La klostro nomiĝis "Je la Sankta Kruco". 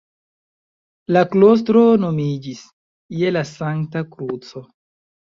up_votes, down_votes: 2, 1